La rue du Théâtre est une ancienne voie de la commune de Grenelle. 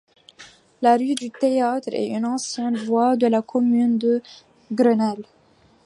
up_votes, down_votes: 2, 0